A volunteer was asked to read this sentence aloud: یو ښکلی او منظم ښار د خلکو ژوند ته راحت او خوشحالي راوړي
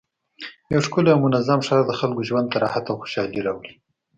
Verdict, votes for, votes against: accepted, 2, 0